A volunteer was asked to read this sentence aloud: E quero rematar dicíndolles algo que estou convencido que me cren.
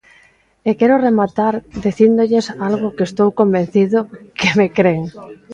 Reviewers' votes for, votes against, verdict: 0, 2, rejected